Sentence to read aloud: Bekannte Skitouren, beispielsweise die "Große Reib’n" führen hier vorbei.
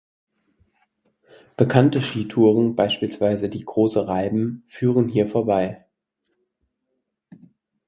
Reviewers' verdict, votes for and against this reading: accepted, 4, 0